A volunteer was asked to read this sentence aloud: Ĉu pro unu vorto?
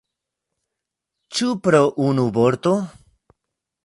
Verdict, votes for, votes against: accepted, 2, 0